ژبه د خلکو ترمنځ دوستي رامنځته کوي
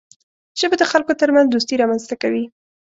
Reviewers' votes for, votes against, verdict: 2, 0, accepted